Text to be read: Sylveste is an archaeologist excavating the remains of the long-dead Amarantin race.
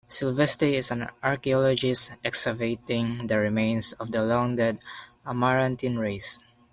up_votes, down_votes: 1, 2